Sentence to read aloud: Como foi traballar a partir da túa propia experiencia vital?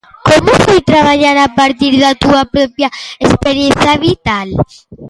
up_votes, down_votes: 1, 2